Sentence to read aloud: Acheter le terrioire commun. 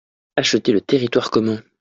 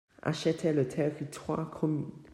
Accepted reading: first